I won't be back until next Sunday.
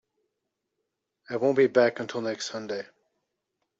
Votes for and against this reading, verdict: 2, 0, accepted